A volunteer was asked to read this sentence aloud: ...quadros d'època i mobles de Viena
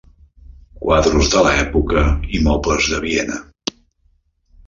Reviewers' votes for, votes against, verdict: 0, 2, rejected